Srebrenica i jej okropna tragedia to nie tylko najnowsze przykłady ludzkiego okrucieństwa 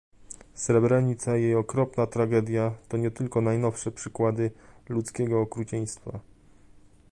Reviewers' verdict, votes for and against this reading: rejected, 1, 2